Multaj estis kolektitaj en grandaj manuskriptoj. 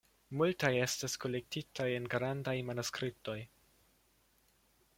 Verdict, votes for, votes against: accepted, 2, 0